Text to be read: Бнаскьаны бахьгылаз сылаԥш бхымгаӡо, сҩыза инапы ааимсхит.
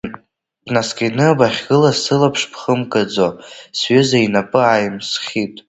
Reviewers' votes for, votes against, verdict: 2, 1, accepted